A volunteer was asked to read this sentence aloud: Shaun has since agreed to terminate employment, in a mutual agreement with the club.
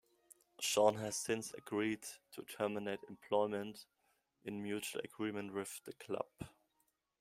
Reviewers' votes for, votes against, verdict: 0, 2, rejected